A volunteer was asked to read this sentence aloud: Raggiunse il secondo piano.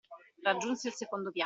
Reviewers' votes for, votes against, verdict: 1, 2, rejected